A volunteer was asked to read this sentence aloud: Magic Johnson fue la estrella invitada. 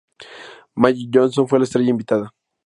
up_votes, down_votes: 2, 0